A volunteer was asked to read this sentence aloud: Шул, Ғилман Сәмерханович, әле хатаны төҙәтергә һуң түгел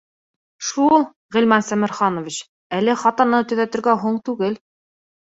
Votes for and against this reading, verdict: 2, 0, accepted